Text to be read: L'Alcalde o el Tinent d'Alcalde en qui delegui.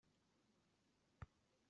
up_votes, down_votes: 1, 2